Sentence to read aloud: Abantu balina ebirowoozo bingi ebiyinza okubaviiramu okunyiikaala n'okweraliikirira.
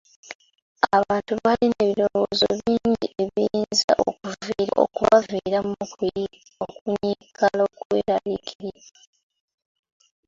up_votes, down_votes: 0, 2